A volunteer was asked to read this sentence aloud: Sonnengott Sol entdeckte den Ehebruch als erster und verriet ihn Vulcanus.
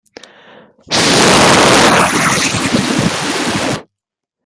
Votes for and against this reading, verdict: 0, 2, rejected